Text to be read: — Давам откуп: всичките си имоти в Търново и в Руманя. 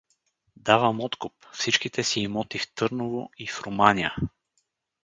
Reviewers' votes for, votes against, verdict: 4, 0, accepted